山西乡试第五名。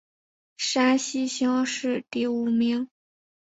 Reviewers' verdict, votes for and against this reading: accepted, 2, 0